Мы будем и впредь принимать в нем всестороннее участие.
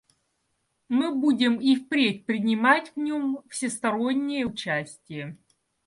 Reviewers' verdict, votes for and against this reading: accepted, 2, 0